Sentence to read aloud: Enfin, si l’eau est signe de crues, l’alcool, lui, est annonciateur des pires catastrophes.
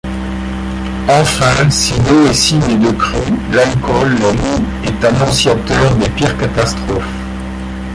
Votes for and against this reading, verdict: 1, 2, rejected